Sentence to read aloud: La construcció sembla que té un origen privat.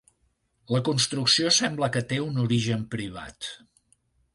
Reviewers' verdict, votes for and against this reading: accepted, 2, 0